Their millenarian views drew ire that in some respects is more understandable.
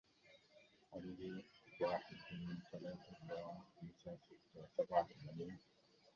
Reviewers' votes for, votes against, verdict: 0, 2, rejected